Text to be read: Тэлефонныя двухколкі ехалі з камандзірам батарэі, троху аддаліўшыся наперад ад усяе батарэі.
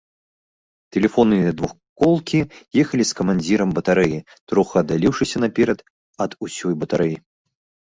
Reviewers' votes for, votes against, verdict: 0, 2, rejected